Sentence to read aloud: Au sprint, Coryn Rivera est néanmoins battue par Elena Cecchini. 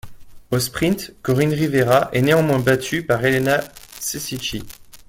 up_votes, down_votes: 0, 2